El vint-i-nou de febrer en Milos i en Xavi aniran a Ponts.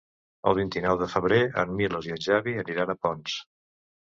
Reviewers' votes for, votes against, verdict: 3, 0, accepted